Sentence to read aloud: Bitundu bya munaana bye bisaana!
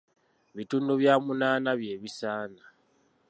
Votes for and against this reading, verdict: 2, 0, accepted